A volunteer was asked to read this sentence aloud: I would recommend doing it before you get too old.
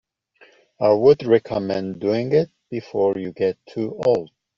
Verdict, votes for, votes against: accepted, 2, 0